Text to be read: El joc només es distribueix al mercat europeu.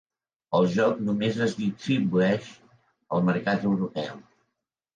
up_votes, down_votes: 0, 2